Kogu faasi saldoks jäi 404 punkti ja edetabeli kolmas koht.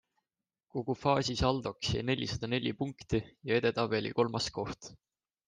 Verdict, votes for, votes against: rejected, 0, 2